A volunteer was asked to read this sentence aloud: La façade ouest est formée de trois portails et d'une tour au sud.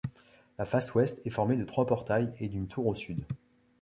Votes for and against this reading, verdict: 1, 2, rejected